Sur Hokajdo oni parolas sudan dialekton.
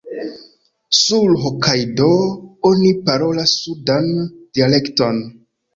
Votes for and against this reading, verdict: 1, 2, rejected